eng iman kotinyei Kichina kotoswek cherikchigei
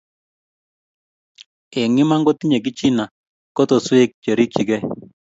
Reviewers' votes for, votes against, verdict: 2, 0, accepted